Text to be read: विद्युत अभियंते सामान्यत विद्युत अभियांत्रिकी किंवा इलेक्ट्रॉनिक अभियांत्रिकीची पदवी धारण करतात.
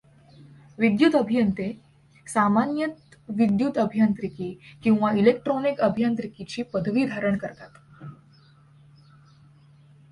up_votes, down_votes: 2, 0